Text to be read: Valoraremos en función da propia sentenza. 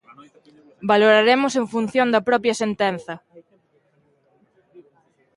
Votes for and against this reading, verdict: 0, 2, rejected